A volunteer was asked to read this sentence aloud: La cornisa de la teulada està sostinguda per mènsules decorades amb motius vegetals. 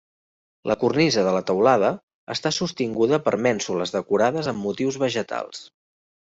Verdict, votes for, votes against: accepted, 3, 0